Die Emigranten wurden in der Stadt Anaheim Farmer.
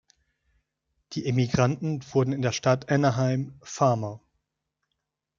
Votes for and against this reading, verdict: 2, 0, accepted